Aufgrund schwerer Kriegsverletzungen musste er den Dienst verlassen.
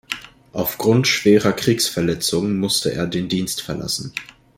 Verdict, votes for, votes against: accepted, 2, 0